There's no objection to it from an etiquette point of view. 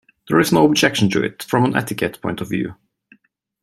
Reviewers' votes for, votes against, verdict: 2, 0, accepted